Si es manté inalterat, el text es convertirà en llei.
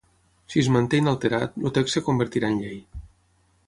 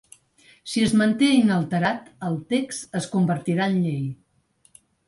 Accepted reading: second